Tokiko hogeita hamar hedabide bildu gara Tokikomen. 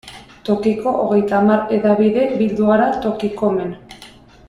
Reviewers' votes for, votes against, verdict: 2, 0, accepted